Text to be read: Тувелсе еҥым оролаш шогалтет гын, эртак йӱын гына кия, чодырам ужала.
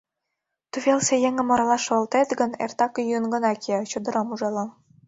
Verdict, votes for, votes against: accepted, 2, 0